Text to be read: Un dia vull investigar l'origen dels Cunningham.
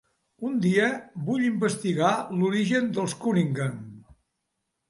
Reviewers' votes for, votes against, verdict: 2, 0, accepted